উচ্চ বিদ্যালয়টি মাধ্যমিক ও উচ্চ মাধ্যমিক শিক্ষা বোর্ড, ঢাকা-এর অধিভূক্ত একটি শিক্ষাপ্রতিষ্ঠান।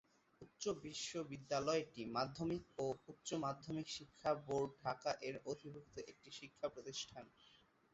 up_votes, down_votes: 0, 2